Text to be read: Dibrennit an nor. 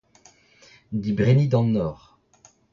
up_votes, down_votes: 1, 2